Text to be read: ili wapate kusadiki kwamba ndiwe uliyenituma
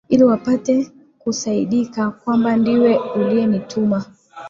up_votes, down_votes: 0, 2